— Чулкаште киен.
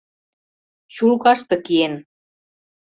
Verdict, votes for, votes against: accepted, 2, 0